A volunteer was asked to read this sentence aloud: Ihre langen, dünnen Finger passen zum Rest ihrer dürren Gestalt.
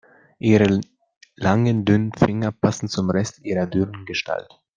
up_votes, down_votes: 0, 2